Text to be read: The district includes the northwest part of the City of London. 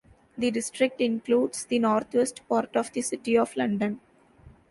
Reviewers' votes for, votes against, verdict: 2, 0, accepted